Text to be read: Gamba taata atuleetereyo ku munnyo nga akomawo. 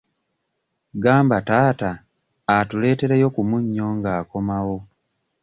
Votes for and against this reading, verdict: 2, 0, accepted